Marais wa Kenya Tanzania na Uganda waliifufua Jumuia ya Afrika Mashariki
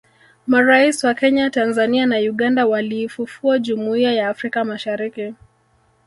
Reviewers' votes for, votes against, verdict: 2, 0, accepted